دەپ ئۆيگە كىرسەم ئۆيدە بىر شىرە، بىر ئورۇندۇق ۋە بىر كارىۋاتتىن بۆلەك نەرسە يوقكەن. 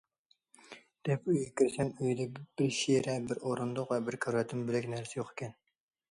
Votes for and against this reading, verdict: 1, 2, rejected